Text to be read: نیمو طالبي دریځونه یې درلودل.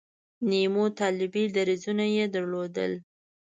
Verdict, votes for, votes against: accepted, 2, 0